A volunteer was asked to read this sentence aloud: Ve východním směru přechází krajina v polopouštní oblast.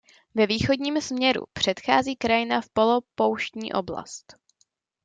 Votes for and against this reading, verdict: 1, 2, rejected